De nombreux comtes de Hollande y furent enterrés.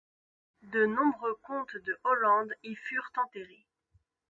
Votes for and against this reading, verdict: 2, 0, accepted